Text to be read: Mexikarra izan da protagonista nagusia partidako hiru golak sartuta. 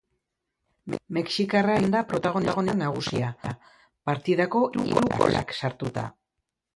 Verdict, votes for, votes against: rejected, 0, 2